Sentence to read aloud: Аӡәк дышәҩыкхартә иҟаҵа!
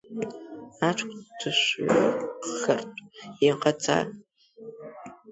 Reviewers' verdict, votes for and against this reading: rejected, 2, 3